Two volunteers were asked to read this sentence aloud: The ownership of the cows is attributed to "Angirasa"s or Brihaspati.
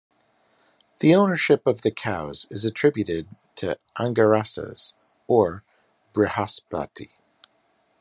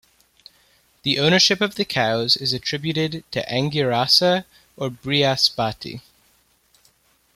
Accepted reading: first